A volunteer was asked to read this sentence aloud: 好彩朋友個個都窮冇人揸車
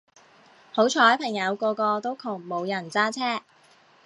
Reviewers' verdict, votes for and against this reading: accepted, 2, 0